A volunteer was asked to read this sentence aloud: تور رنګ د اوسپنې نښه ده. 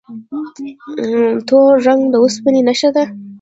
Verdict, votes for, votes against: accepted, 2, 0